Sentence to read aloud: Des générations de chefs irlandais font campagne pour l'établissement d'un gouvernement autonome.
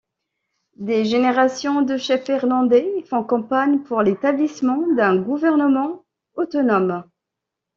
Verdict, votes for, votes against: accepted, 2, 0